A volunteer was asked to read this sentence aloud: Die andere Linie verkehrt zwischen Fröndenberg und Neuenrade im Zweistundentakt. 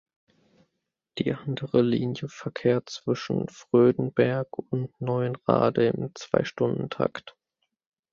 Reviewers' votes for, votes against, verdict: 0, 2, rejected